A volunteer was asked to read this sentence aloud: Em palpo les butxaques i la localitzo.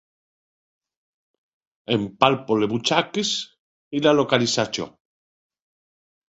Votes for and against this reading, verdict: 1, 2, rejected